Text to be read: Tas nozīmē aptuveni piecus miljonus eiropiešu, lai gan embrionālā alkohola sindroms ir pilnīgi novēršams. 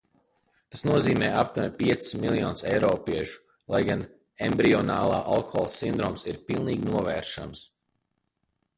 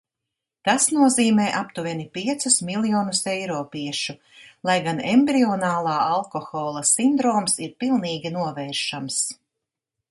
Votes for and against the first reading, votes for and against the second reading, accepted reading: 1, 2, 2, 1, second